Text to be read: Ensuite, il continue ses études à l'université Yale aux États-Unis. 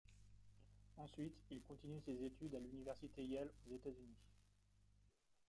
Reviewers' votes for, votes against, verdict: 0, 2, rejected